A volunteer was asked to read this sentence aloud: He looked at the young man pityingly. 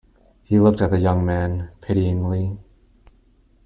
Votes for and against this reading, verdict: 2, 0, accepted